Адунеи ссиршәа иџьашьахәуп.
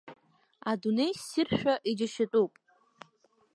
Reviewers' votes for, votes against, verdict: 2, 3, rejected